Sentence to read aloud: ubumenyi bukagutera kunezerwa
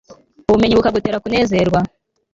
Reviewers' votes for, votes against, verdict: 2, 1, accepted